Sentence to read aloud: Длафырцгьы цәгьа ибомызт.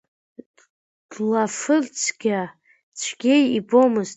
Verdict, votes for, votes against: rejected, 1, 2